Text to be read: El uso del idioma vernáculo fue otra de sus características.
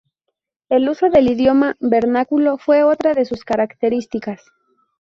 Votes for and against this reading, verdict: 2, 0, accepted